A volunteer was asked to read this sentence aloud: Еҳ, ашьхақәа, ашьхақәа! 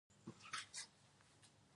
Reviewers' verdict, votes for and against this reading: rejected, 0, 2